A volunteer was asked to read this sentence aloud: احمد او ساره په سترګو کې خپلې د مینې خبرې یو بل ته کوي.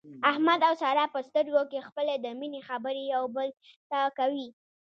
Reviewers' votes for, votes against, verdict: 2, 0, accepted